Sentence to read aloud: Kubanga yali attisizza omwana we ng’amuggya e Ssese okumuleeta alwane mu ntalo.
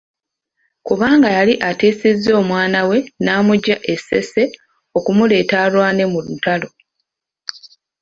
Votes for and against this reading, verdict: 2, 1, accepted